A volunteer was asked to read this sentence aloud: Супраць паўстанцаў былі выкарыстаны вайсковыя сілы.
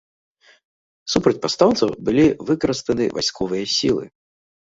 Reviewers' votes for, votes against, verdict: 0, 2, rejected